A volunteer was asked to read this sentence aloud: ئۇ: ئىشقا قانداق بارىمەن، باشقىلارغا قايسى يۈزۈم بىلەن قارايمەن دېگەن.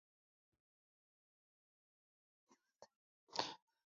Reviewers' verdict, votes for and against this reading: rejected, 0, 2